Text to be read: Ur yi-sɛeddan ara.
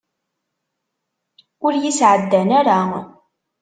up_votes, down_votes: 2, 0